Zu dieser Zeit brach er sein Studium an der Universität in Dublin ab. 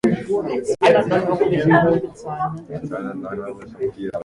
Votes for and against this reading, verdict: 0, 2, rejected